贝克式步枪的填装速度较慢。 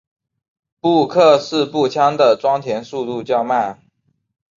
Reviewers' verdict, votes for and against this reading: accepted, 3, 2